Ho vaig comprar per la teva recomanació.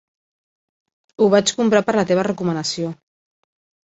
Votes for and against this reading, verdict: 3, 0, accepted